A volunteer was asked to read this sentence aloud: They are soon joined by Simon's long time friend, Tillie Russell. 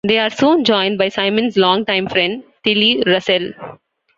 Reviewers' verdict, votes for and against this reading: accepted, 2, 1